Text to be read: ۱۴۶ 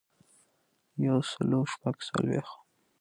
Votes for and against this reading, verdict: 0, 2, rejected